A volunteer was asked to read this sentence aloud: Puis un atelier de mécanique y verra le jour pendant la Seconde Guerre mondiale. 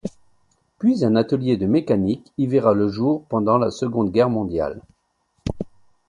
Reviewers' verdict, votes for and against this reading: accepted, 2, 0